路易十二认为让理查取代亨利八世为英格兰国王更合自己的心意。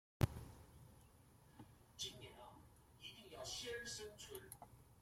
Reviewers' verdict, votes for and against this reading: rejected, 0, 2